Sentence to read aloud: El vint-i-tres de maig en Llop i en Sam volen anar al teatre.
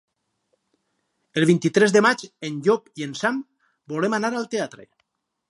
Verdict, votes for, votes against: rejected, 2, 4